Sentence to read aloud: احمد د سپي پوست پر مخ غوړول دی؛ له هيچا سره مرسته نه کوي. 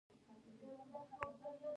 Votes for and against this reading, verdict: 1, 2, rejected